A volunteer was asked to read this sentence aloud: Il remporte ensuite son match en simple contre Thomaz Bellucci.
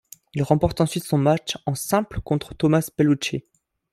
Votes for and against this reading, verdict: 2, 0, accepted